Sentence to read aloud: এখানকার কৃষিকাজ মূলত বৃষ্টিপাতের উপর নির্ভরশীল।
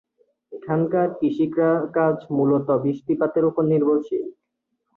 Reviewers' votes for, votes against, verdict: 2, 3, rejected